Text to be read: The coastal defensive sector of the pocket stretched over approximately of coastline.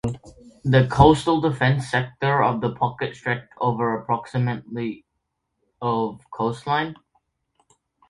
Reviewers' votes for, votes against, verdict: 0, 2, rejected